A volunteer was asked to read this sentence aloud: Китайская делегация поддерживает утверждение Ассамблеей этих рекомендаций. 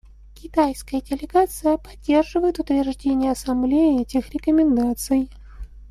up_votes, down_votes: 2, 1